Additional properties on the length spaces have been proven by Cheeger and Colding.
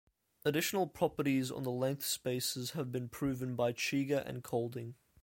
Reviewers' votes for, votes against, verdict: 2, 0, accepted